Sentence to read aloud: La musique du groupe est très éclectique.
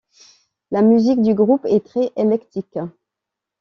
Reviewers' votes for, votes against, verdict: 1, 2, rejected